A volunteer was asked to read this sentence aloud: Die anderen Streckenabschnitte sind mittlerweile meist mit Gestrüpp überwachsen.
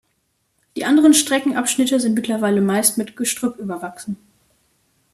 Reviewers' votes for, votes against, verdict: 2, 0, accepted